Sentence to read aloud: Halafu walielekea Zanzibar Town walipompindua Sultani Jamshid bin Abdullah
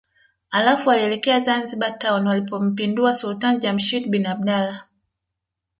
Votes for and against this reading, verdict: 2, 0, accepted